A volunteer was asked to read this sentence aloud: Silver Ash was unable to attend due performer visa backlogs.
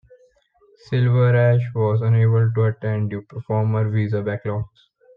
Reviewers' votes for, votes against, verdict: 2, 1, accepted